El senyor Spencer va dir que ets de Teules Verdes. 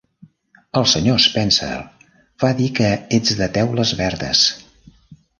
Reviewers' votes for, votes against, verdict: 3, 0, accepted